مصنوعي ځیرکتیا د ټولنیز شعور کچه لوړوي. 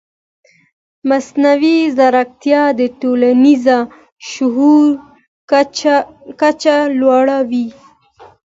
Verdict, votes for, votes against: accepted, 2, 0